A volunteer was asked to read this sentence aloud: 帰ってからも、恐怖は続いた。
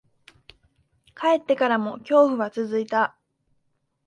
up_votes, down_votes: 3, 0